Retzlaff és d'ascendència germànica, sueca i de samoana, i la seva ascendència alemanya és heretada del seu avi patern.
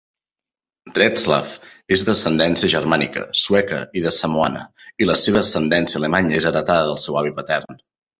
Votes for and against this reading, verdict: 2, 0, accepted